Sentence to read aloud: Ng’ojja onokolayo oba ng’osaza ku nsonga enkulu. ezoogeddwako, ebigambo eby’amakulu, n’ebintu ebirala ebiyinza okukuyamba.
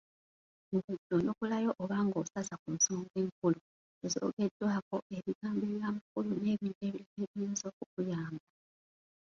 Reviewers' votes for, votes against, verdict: 0, 2, rejected